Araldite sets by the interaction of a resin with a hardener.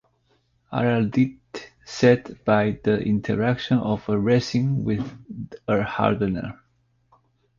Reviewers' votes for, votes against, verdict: 0, 2, rejected